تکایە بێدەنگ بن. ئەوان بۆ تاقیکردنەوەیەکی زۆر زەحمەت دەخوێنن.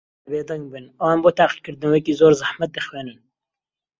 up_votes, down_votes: 0, 2